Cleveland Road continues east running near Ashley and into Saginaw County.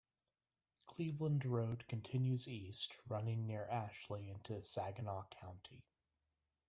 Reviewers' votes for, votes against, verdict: 0, 2, rejected